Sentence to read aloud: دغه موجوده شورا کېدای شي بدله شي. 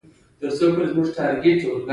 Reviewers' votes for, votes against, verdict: 1, 2, rejected